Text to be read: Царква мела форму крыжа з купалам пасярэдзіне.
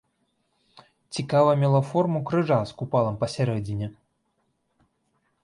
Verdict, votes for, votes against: rejected, 1, 3